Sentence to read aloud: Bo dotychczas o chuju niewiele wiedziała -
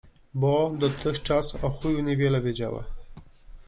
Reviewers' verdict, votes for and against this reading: accepted, 2, 0